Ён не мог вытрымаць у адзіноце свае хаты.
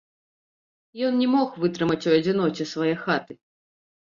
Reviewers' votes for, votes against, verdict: 0, 2, rejected